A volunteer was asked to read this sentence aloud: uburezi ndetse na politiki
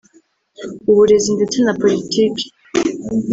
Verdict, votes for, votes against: accepted, 2, 0